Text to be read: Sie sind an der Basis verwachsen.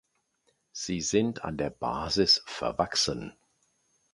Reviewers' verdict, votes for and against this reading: accepted, 2, 0